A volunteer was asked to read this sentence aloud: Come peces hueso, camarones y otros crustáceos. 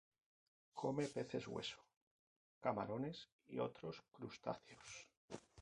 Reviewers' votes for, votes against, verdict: 2, 2, rejected